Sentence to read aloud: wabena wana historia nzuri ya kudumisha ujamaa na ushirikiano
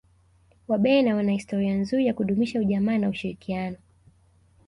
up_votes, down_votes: 2, 1